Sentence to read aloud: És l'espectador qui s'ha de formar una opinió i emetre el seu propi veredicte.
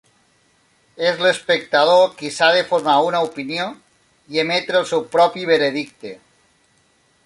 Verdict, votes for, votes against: accepted, 3, 0